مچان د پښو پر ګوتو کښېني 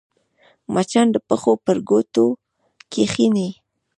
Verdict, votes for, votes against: rejected, 1, 2